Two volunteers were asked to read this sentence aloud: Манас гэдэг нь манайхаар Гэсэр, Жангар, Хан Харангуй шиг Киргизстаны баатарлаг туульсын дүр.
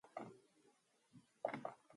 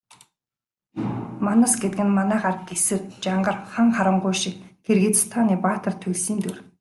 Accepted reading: second